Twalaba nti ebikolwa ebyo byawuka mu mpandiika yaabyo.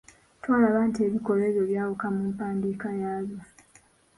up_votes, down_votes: 2, 1